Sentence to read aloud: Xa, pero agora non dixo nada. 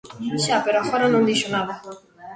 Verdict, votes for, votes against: rejected, 1, 2